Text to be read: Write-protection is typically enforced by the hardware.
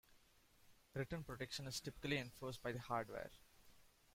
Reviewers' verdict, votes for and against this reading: rejected, 0, 2